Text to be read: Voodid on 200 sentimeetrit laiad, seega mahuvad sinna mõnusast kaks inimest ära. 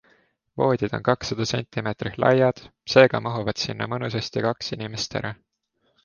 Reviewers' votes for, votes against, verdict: 0, 2, rejected